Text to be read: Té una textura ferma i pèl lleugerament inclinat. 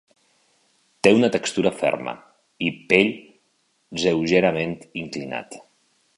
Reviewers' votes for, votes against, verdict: 0, 2, rejected